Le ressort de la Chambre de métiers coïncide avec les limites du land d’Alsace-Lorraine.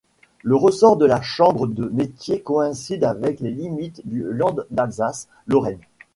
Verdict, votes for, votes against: rejected, 0, 2